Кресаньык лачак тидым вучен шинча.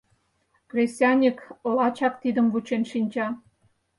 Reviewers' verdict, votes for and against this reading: accepted, 4, 0